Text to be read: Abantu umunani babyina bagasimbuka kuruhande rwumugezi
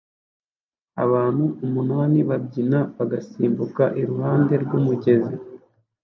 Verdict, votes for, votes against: rejected, 1, 2